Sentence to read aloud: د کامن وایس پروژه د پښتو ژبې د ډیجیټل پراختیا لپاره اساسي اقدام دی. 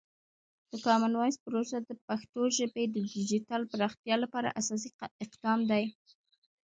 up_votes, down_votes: 2, 0